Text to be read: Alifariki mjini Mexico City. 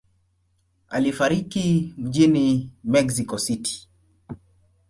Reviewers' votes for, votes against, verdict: 2, 0, accepted